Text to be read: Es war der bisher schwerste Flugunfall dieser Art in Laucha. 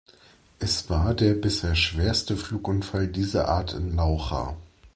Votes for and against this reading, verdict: 3, 0, accepted